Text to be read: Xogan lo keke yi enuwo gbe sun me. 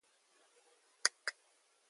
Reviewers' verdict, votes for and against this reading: rejected, 0, 2